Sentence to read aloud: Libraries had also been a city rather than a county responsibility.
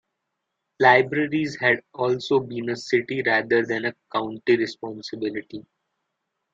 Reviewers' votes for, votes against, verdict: 2, 0, accepted